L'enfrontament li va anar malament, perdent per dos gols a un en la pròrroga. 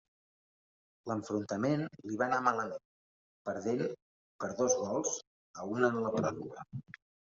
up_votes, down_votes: 0, 2